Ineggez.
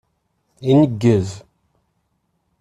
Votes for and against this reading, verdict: 2, 0, accepted